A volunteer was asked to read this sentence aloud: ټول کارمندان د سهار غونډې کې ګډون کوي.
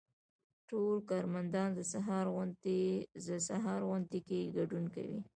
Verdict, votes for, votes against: accepted, 2, 0